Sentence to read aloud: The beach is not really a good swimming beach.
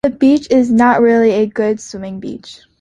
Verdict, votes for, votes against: accepted, 2, 0